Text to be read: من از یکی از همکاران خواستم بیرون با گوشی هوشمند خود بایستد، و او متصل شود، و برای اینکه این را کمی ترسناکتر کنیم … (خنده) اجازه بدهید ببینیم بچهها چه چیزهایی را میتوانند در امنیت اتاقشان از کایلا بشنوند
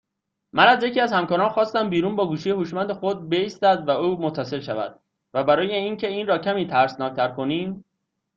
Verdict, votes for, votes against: accepted, 2, 1